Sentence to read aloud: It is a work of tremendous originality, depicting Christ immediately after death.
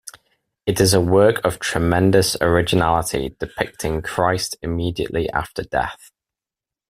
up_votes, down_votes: 2, 0